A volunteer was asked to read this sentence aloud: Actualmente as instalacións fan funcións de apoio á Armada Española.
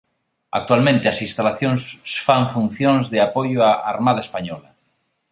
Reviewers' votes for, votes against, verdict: 2, 0, accepted